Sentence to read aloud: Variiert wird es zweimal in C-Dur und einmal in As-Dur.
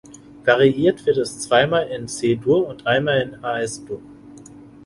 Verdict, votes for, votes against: rejected, 0, 2